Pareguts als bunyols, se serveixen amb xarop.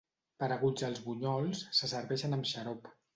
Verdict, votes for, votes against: accepted, 5, 0